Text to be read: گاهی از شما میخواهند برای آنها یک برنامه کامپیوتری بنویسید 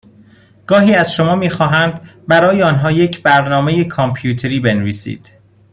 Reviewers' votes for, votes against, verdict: 2, 0, accepted